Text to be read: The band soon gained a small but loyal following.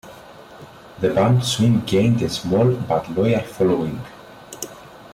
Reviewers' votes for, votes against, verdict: 2, 0, accepted